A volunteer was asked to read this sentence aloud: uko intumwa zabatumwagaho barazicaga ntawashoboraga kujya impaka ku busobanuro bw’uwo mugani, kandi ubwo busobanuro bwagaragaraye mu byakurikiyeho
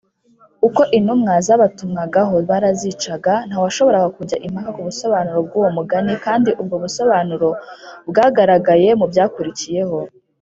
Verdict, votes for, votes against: accepted, 4, 0